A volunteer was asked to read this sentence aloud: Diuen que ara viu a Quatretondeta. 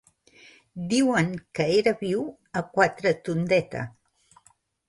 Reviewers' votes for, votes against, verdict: 1, 2, rejected